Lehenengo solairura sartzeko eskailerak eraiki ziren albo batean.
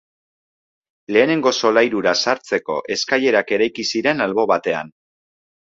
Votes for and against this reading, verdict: 2, 0, accepted